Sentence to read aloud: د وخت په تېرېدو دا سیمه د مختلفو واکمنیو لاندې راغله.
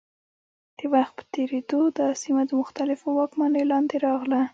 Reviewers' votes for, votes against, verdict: 2, 1, accepted